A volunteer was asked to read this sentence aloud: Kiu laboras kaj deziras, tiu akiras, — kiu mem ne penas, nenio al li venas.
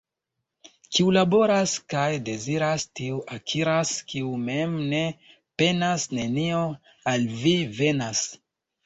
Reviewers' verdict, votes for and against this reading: rejected, 1, 2